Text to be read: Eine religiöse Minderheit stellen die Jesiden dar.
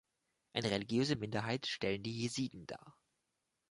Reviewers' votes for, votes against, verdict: 2, 0, accepted